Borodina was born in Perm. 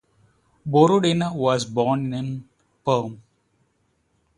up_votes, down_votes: 4, 0